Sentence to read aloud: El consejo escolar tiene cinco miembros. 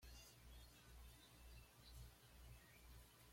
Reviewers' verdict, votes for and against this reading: rejected, 1, 2